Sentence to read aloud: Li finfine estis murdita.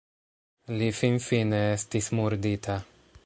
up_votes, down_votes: 2, 0